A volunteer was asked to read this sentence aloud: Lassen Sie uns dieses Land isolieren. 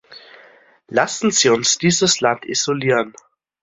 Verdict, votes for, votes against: accepted, 2, 0